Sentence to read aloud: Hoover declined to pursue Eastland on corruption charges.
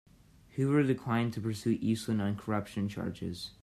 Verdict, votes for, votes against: accepted, 2, 0